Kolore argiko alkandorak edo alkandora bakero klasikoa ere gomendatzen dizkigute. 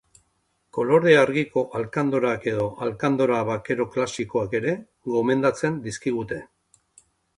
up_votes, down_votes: 2, 0